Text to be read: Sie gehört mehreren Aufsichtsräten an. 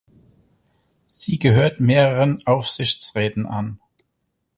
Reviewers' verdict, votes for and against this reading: accepted, 4, 0